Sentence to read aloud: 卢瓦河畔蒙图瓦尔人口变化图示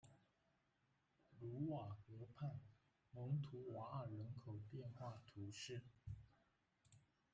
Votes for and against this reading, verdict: 0, 2, rejected